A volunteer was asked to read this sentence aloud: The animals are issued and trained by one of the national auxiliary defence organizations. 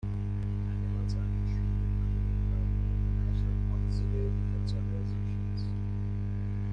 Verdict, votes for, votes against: rejected, 0, 2